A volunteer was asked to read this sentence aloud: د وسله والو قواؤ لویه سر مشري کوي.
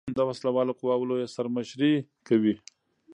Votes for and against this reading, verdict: 0, 2, rejected